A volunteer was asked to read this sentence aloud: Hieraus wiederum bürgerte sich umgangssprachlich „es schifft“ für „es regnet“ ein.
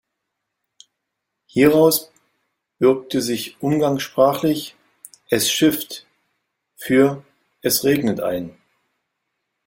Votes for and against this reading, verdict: 0, 2, rejected